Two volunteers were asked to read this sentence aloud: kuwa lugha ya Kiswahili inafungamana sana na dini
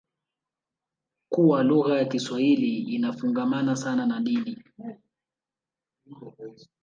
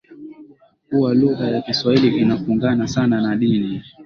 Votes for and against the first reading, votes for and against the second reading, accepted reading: 1, 2, 2, 1, second